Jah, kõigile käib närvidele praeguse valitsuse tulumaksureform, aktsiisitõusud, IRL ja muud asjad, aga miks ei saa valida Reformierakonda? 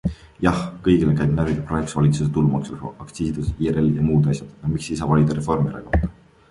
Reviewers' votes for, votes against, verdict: 1, 2, rejected